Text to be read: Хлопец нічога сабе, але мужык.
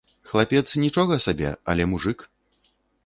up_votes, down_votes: 0, 2